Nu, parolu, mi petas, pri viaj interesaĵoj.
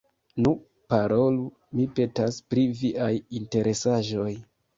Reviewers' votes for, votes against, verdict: 2, 0, accepted